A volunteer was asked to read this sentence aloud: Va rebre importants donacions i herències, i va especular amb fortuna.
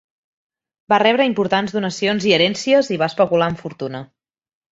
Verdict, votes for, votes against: accepted, 3, 0